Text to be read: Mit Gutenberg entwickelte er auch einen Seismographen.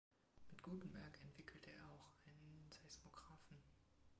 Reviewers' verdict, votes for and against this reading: rejected, 1, 2